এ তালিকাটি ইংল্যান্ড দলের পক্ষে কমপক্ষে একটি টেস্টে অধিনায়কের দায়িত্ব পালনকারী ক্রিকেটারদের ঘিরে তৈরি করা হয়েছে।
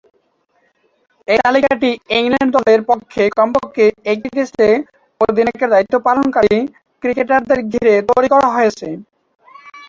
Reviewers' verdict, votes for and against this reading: rejected, 5, 7